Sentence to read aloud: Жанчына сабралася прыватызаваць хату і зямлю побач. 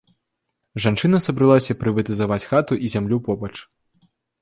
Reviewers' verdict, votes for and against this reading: accepted, 2, 0